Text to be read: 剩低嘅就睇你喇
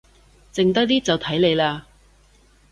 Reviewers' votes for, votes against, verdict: 0, 2, rejected